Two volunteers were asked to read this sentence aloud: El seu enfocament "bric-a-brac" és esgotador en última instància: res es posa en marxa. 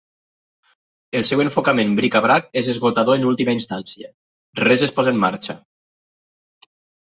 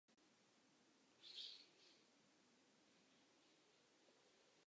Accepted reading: first